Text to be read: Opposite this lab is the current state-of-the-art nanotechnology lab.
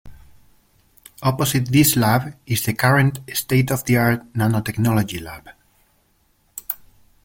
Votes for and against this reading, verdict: 1, 2, rejected